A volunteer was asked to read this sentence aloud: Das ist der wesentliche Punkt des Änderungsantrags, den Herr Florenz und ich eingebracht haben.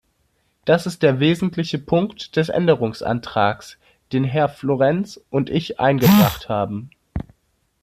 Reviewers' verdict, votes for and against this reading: accepted, 3, 0